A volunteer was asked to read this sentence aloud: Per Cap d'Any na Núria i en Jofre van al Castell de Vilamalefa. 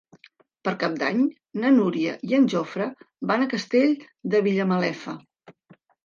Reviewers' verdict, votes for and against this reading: rejected, 0, 2